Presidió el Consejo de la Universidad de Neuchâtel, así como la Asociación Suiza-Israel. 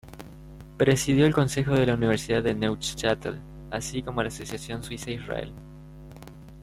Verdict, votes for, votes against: rejected, 1, 2